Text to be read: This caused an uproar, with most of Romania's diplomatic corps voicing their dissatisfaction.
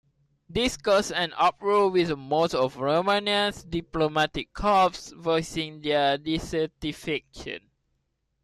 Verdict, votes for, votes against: accepted, 2, 1